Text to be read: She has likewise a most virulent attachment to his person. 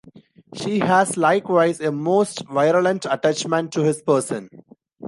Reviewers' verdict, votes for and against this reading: accepted, 2, 0